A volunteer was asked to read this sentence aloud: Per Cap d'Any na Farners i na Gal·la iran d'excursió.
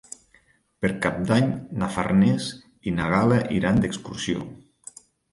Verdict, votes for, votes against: rejected, 1, 2